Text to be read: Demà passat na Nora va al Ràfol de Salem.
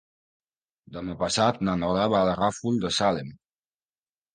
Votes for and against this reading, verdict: 1, 2, rejected